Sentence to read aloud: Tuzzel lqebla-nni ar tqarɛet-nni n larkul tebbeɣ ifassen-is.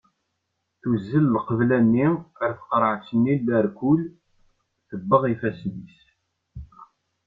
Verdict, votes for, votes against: accepted, 2, 0